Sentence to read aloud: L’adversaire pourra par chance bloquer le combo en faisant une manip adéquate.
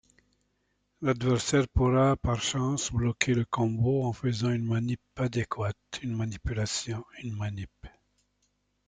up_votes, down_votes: 1, 2